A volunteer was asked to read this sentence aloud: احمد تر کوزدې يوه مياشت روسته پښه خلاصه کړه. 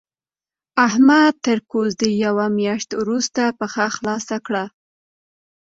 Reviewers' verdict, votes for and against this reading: accepted, 2, 0